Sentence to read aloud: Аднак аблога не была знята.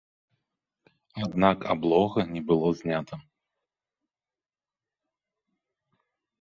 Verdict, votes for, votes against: rejected, 0, 2